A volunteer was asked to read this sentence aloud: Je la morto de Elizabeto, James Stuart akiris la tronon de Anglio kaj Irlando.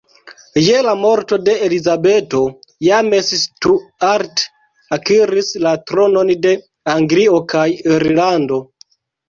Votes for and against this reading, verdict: 2, 0, accepted